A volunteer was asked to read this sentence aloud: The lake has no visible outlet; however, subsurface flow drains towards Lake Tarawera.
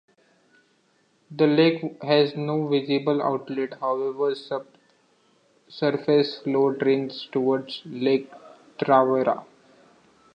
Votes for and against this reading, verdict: 1, 2, rejected